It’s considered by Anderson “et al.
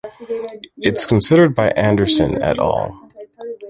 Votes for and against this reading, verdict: 2, 1, accepted